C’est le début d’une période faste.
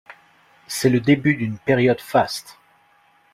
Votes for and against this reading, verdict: 2, 0, accepted